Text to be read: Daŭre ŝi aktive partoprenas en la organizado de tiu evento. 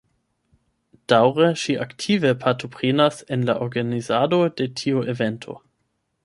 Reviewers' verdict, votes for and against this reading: rejected, 0, 8